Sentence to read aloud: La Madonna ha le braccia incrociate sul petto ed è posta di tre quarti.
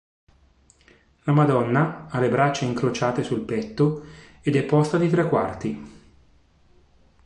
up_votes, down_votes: 2, 0